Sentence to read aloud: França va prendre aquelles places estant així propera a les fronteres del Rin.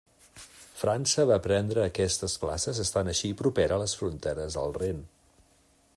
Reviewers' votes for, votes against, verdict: 1, 2, rejected